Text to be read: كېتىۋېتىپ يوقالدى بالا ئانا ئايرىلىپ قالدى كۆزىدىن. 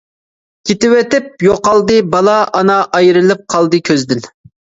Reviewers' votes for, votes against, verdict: 2, 0, accepted